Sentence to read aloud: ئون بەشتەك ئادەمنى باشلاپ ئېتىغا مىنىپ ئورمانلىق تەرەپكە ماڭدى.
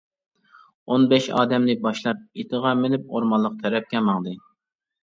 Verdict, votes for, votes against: rejected, 0, 2